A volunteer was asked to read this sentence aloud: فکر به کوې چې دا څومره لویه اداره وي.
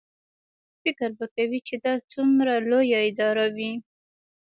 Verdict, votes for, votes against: rejected, 1, 2